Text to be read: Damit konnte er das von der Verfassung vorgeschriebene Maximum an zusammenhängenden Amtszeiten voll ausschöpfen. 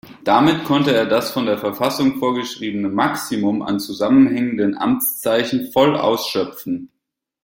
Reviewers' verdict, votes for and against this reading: rejected, 1, 2